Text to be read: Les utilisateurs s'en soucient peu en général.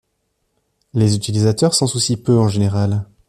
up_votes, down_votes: 2, 1